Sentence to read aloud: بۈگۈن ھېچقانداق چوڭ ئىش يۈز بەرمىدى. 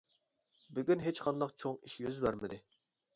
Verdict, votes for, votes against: accepted, 2, 0